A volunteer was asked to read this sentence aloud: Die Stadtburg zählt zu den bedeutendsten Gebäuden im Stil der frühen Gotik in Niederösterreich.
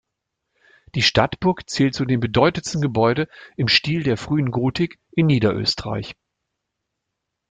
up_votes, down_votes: 0, 2